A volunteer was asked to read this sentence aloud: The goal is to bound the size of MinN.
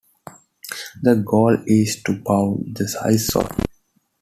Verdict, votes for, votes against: rejected, 1, 2